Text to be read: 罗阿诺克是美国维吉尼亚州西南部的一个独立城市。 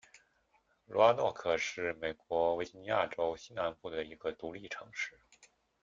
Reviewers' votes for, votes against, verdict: 1, 2, rejected